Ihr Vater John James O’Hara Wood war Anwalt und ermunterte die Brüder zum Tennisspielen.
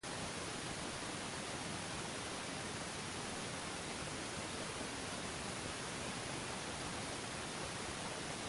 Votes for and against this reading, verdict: 0, 2, rejected